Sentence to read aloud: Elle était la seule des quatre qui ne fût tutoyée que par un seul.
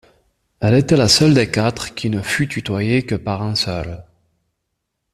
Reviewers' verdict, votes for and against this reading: accepted, 2, 0